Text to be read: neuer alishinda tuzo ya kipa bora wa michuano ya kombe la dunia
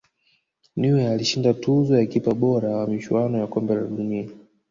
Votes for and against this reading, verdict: 2, 1, accepted